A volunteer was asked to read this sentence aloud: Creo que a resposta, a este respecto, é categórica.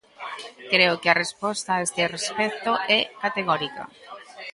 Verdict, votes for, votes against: accepted, 2, 0